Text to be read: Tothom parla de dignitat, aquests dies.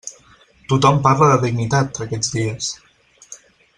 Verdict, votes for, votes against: accepted, 4, 0